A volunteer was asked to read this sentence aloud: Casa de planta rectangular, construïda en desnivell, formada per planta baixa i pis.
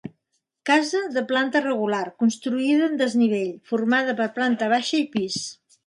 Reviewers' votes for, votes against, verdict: 1, 2, rejected